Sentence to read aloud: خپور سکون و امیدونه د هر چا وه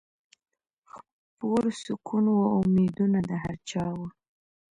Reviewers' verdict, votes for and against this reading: rejected, 1, 2